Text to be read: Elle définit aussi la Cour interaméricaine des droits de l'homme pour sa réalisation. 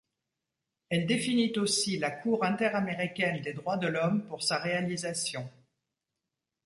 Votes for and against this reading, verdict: 2, 0, accepted